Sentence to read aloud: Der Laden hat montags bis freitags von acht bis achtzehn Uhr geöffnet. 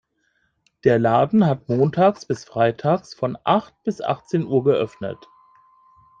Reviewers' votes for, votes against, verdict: 2, 0, accepted